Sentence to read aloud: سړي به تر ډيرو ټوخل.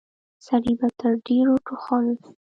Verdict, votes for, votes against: rejected, 1, 2